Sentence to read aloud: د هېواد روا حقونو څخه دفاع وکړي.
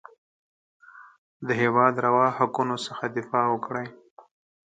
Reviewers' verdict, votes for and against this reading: accepted, 4, 0